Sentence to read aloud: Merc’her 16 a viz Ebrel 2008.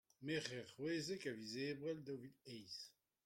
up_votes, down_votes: 0, 2